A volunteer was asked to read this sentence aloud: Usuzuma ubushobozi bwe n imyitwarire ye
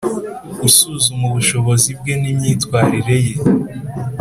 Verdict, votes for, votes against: accepted, 2, 0